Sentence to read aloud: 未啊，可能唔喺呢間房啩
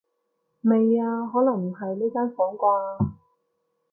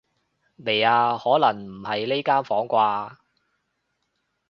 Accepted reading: first